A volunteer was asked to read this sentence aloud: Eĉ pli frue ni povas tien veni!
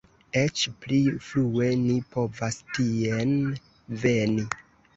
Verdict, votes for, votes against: rejected, 1, 2